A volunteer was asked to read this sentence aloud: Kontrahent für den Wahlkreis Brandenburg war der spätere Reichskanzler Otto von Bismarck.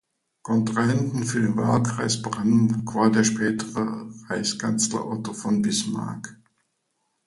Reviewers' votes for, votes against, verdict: 0, 2, rejected